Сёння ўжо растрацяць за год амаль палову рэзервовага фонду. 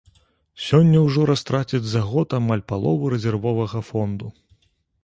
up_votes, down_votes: 2, 0